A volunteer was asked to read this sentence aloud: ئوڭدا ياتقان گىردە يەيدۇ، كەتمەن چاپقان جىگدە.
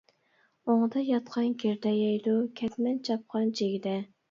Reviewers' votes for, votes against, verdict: 2, 0, accepted